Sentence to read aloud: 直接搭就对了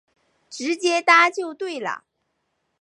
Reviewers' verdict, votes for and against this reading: accepted, 5, 0